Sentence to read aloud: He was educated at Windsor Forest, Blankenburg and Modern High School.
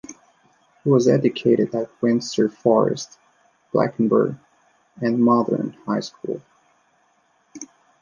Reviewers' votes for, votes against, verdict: 2, 1, accepted